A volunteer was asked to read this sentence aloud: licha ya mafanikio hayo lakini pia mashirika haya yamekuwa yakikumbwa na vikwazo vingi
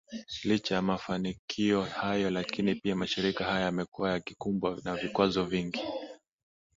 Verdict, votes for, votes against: accepted, 6, 1